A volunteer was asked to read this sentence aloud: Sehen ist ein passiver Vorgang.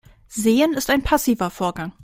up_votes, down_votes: 2, 0